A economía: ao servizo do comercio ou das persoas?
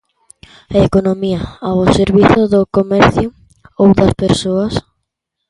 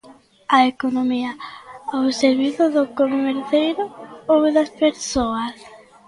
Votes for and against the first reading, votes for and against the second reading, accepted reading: 2, 0, 0, 2, first